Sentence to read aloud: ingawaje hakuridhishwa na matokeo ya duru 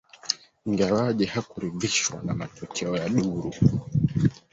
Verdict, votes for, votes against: rejected, 1, 2